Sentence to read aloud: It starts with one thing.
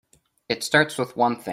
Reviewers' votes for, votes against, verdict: 0, 2, rejected